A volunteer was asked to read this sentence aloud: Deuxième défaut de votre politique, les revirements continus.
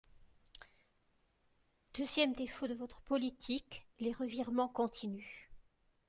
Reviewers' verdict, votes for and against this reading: accepted, 2, 0